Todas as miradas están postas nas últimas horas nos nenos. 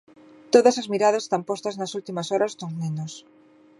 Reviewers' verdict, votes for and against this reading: accepted, 2, 0